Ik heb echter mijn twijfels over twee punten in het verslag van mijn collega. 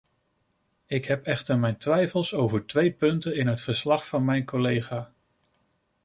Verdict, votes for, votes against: accepted, 2, 0